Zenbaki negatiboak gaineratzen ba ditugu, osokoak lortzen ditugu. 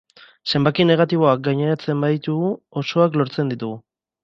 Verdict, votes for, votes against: accepted, 2, 0